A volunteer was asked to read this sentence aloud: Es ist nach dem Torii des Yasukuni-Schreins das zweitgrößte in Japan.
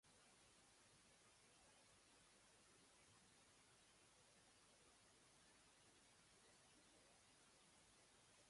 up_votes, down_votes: 0, 2